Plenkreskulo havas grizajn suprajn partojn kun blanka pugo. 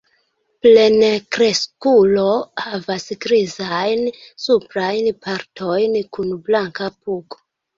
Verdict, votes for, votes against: rejected, 1, 2